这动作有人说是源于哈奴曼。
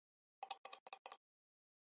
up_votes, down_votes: 0, 2